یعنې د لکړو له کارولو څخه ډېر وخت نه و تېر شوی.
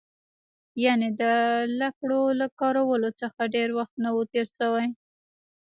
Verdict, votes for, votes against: rejected, 1, 2